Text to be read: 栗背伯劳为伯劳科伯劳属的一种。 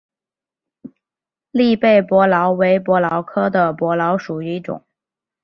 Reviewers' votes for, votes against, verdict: 4, 0, accepted